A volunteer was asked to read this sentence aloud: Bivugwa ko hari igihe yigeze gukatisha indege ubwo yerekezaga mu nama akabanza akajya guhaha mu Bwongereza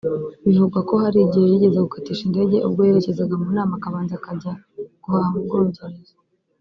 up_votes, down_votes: 0, 2